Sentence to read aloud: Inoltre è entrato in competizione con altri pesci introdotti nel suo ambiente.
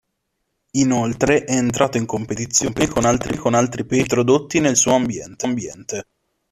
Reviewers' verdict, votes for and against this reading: rejected, 0, 2